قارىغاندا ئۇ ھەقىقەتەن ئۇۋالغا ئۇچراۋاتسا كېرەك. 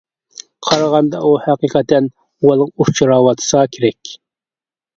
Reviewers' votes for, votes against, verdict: 0, 2, rejected